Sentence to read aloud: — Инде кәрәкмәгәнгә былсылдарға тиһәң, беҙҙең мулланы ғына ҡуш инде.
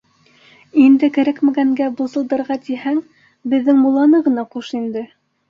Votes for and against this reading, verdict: 2, 0, accepted